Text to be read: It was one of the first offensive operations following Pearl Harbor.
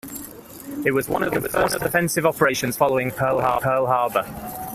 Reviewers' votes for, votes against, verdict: 0, 2, rejected